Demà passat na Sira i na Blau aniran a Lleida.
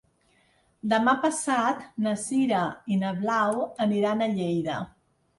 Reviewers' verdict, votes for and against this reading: accepted, 2, 0